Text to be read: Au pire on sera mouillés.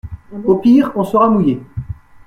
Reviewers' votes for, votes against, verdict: 2, 0, accepted